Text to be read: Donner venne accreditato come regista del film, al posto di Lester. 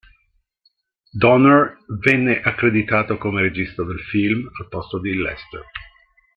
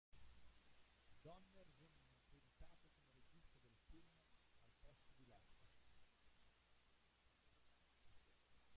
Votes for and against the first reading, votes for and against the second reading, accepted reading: 2, 1, 0, 2, first